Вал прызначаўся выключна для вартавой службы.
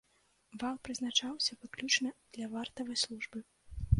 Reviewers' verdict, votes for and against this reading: rejected, 1, 2